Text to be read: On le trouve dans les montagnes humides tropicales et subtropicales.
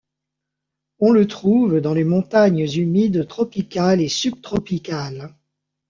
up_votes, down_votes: 1, 2